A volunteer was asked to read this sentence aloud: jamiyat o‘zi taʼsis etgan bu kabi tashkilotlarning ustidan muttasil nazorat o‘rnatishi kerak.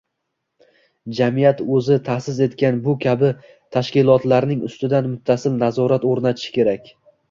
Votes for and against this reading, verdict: 2, 1, accepted